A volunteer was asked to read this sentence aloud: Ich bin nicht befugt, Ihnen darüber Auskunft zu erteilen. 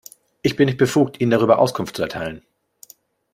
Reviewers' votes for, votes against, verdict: 2, 0, accepted